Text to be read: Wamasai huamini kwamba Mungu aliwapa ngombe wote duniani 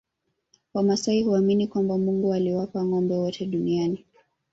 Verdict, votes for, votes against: rejected, 2, 3